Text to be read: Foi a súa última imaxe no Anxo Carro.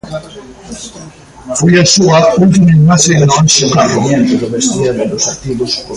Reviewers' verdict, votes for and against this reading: rejected, 1, 2